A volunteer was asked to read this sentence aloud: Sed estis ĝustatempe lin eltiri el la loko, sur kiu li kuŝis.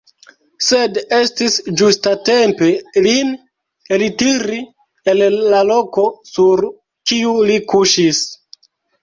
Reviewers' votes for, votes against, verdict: 1, 2, rejected